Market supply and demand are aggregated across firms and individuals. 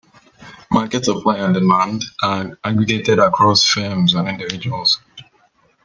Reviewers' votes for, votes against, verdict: 2, 1, accepted